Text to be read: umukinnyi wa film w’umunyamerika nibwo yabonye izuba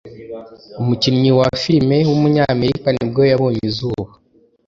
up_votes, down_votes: 2, 0